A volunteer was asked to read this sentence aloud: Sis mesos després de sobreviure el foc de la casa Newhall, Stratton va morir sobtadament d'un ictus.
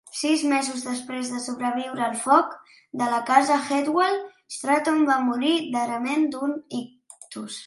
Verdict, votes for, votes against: rejected, 0, 2